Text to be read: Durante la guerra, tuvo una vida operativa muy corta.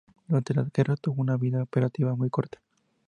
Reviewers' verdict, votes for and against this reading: rejected, 0, 2